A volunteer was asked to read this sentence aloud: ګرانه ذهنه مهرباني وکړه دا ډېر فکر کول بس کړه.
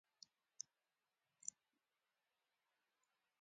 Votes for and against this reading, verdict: 0, 2, rejected